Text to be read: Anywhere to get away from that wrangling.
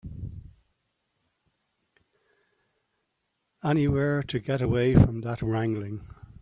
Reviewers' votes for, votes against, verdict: 2, 1, accepted